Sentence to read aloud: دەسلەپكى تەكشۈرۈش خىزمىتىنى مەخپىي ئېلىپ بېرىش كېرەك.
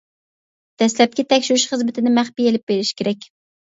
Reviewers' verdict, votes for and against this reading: accepted, 2, 0